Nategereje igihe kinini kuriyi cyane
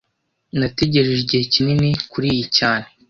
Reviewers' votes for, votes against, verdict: 2, 0, accepted